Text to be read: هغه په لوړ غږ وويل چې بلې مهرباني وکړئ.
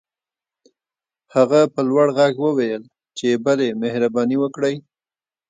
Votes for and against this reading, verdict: 2, 0, accepted